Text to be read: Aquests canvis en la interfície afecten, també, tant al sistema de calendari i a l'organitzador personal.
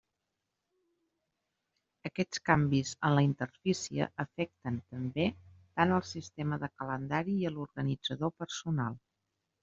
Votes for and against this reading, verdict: 1, 2, rejected